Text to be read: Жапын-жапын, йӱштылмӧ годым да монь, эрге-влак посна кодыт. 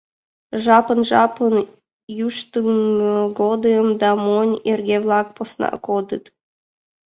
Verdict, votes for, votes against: rejected, 1, 2